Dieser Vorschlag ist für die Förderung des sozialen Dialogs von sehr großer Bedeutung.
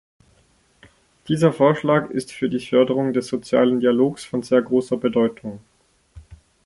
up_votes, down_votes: 2, 0